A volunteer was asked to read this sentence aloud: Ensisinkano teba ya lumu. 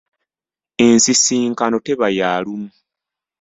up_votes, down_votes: 2, 0